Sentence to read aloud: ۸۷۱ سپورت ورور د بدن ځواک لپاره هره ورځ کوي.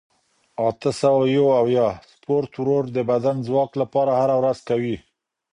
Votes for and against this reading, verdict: 0, 2, rejected